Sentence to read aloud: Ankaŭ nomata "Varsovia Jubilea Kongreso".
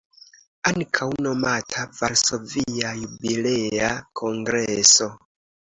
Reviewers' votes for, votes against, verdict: 1, 2, rejected